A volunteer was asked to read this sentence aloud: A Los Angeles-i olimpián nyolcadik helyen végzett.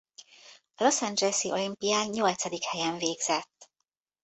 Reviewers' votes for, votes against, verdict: 1, 2, rejected